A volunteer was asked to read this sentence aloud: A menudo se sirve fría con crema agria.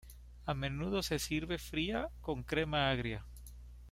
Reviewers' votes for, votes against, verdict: 2, 0, accepted